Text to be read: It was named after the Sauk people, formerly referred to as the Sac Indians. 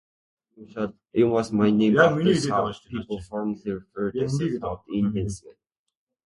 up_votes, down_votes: 0, 2